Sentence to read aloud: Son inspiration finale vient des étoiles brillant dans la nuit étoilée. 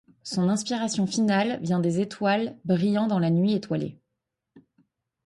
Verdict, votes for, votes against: accepted, 2, 0